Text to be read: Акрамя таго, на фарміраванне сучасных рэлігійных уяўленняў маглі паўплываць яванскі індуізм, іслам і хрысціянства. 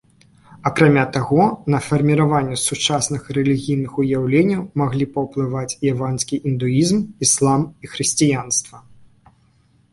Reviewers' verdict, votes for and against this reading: accepted, 2, 0